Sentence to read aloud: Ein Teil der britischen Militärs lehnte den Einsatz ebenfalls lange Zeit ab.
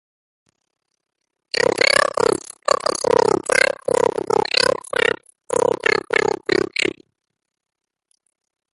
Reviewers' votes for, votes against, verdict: 0, 2, rejected